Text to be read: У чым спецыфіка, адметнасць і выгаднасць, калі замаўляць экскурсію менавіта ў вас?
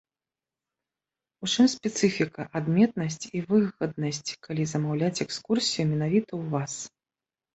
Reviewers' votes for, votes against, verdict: 2, 1, accepted